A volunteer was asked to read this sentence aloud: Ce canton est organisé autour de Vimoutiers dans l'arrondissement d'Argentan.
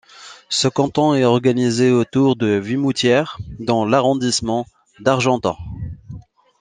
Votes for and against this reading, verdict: 1, 2, rejected